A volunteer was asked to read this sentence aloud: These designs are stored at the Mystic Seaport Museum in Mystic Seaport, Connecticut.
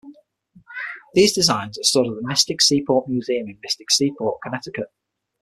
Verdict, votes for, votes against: accepted, 6, 0